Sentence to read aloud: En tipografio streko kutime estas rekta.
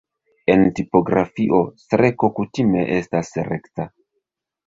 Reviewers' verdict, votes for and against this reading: accepted, 2, 1